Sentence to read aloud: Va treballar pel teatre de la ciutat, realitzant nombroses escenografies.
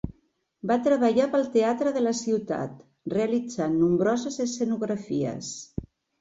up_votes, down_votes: 2, 0